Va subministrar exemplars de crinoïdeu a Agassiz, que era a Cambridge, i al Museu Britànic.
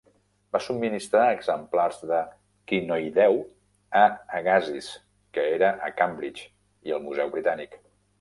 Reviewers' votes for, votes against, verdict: 1, 2, rejected